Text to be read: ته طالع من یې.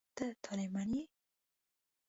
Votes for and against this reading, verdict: 0, 2, rejected